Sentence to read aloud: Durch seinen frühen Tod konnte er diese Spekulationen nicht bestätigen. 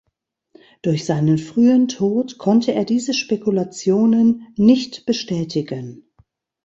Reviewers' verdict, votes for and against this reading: accepted, 2, 0